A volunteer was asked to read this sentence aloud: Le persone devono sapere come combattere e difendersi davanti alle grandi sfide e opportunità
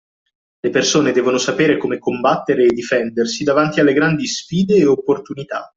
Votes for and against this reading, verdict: 2, 0, accepted